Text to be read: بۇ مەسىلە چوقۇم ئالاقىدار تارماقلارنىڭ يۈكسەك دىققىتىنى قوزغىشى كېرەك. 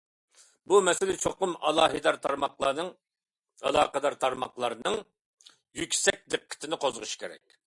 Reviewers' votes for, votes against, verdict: 0, 2, rejected